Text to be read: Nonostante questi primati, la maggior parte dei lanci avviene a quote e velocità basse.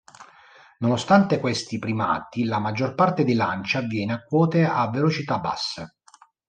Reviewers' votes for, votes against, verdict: 1, 2, rejected